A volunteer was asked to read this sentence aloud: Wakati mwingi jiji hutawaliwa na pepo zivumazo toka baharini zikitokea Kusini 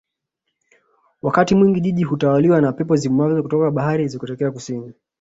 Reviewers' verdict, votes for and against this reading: accepted, 2, 0